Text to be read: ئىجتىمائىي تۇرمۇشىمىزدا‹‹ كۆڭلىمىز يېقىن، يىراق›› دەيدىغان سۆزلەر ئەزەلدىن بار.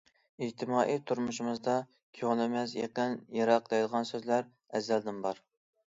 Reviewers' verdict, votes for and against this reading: accepted, 2, 0